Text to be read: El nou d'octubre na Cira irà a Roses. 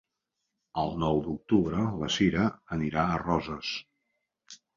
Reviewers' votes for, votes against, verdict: 2, 1, accepted